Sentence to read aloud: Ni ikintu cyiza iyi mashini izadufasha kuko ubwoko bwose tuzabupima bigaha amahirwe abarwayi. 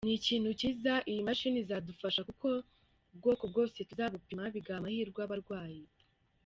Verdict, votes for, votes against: rejected, 1, 2